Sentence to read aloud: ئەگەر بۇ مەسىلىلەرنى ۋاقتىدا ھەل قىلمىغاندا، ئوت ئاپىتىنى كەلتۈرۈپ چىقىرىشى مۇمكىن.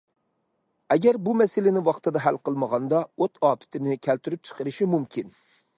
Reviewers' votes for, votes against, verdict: 0, 2, rejected